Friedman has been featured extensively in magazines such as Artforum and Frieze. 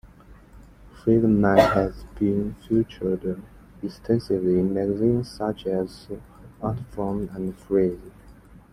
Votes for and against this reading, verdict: 2, 1, accepted